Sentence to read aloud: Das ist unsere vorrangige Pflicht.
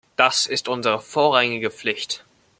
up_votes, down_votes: 1, 2